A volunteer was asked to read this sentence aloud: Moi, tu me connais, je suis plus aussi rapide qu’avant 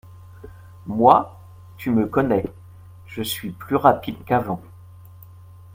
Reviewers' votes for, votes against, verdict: 0, 2, rejected